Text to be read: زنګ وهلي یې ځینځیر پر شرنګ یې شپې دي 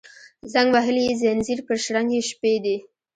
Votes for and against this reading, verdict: 2, 0, accepted